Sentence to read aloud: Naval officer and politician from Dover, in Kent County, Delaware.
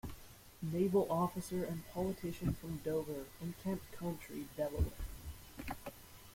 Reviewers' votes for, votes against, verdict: 2, 0, accepted